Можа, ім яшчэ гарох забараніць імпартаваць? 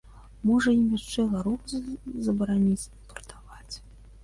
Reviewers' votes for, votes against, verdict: 0, 2, rejected